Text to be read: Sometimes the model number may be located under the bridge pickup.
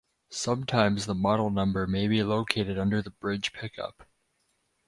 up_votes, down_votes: 4, 0